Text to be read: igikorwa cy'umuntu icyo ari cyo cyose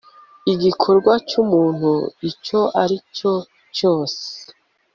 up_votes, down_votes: 2, 0